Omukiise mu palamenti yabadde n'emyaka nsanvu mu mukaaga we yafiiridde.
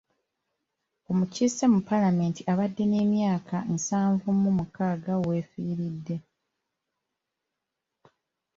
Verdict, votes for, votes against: rejected, 1, 2